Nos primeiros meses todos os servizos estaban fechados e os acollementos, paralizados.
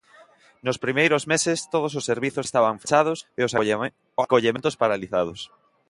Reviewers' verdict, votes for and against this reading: rejected, 1, 2